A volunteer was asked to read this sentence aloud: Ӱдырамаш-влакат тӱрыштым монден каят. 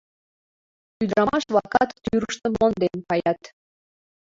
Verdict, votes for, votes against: accepted, 2, 1